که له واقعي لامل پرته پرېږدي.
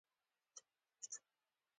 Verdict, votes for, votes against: rejected, 1, 2